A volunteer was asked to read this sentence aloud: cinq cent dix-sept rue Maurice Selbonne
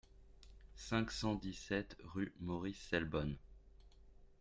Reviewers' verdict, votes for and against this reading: rejected, 1, 2